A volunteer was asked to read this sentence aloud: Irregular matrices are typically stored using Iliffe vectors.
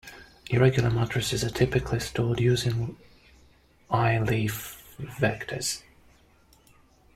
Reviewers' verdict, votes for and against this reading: accepted, 2, 0